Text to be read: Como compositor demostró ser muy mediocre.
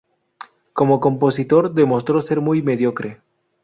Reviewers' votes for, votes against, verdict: 2, 0, accepted